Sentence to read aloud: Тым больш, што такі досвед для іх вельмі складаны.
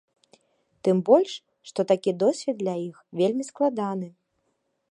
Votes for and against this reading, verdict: 2, 0, accepted